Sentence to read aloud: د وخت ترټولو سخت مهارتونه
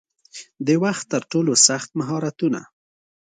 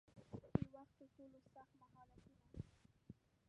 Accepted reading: first